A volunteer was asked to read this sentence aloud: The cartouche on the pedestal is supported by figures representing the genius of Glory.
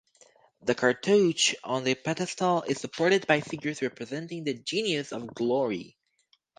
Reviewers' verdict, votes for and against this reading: accepted, 2, 0